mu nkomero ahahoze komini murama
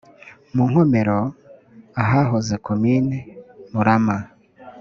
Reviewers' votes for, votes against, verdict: 2, 0, accepted